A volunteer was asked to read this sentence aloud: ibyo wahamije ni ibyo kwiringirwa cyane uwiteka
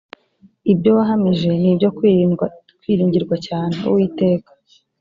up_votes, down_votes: 1, 2